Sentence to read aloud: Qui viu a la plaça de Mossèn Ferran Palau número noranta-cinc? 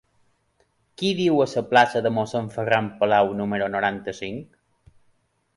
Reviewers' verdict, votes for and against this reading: rejected, 0, 2